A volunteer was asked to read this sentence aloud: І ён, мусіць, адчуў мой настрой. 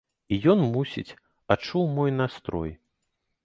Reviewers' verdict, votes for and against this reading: accepted, 2, 0